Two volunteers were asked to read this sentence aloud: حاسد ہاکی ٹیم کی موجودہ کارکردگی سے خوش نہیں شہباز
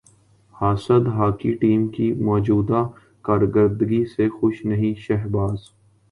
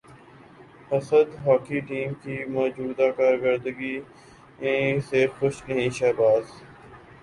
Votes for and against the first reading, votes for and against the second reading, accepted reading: 2, 0, 2, 3, first